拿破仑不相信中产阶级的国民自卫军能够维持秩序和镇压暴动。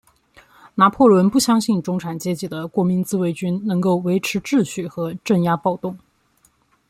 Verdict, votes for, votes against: accepted, 2, 0